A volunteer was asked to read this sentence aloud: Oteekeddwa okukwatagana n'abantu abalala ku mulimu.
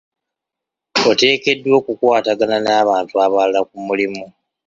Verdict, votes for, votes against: rejected, 0, 2